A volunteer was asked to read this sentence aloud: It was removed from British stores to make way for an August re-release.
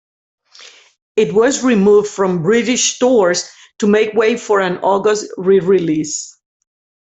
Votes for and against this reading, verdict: 2, 0, accepted